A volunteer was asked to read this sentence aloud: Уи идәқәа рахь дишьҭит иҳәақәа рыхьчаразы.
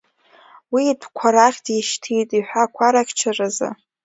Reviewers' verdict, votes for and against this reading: accepted, 2, 0